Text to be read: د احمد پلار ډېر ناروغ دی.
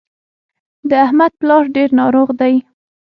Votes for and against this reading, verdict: 6, 0, accepted